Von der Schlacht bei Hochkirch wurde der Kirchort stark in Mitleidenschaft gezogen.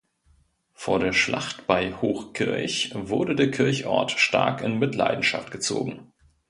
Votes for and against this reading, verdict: 1, 2, rejected